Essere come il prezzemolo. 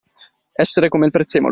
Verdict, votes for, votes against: accepted, 2, 0